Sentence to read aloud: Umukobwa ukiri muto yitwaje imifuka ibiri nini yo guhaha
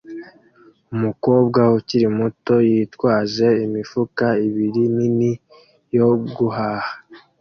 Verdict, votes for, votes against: accepted, 2, 0